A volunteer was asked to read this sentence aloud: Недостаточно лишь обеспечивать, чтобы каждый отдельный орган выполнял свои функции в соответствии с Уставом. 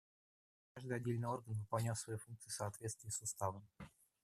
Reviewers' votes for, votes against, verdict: 0, 2, rejected